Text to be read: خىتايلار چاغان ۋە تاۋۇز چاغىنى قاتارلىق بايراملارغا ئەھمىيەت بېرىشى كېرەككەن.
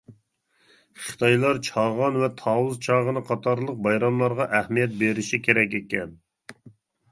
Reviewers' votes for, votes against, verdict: 0, 2, rejected